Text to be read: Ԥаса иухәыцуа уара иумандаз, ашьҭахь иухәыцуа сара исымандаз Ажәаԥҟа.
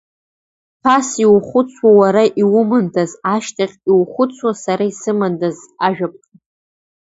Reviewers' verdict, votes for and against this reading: rejected, 1, 2